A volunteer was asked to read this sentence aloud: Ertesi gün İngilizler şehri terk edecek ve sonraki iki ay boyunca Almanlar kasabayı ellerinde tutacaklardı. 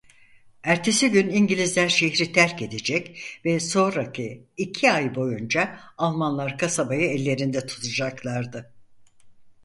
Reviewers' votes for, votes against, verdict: 4, 0, accepted